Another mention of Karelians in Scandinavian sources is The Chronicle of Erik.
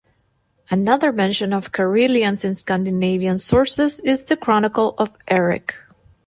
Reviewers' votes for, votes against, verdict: 2, 0, accepted